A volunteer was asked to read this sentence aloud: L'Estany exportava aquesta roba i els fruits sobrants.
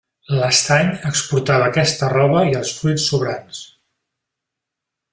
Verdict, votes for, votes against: accepted, 4, 0